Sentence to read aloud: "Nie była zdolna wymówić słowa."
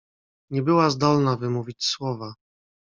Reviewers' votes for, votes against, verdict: 2, 0, accepted